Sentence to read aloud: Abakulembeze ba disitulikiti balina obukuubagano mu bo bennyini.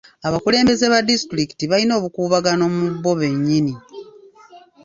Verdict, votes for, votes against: accepted, 2, 0